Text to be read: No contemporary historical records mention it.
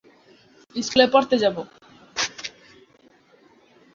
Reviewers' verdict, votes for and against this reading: rejected, 1, 2